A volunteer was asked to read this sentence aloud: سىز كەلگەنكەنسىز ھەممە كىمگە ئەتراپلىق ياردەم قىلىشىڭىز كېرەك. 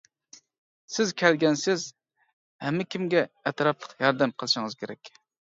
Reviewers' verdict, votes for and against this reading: rejected, 0, 2